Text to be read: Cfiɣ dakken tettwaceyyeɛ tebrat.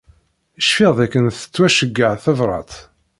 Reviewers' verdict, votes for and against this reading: accepted, 2, 0